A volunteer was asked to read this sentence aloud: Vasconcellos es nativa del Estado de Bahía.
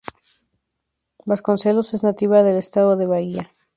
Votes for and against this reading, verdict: 2, 0, accepted